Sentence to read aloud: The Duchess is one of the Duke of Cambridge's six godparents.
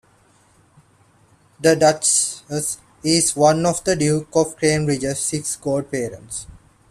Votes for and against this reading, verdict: 2, 0, accepted